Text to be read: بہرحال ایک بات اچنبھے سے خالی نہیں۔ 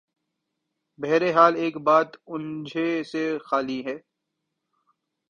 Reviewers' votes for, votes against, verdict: 0, 2, rejected